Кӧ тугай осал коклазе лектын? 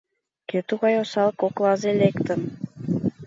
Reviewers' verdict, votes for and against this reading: accepted, 2, 0